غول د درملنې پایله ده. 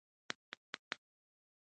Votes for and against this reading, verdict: 2, 0, accepted